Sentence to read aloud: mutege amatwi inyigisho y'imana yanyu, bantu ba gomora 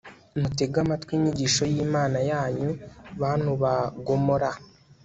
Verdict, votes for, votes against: accepted, 2, 0